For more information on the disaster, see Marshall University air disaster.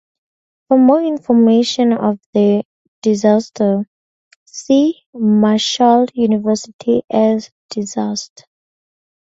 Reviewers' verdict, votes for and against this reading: rejected, 2, 2